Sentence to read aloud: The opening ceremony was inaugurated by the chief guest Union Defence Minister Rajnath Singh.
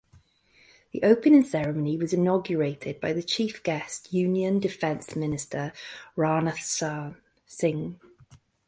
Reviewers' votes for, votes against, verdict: 0, 2, rejected